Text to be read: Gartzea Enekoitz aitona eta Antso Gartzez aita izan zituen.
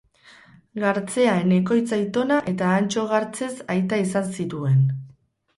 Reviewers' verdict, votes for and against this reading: accepted, 4, 0